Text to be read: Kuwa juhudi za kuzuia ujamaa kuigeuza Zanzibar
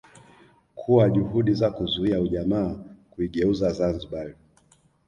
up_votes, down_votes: 1, 2